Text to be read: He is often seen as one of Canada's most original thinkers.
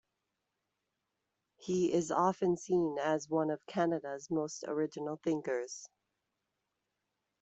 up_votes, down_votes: 2, 0